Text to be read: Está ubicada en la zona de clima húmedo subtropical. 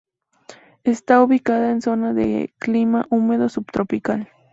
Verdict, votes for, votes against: accepted, 2, 0